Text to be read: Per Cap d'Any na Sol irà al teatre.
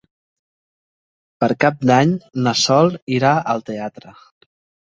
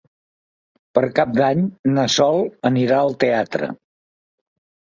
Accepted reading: first